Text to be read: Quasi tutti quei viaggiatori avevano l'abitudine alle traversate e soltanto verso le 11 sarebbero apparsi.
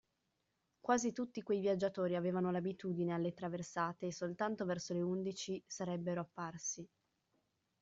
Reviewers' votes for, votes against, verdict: 0, 2, rejected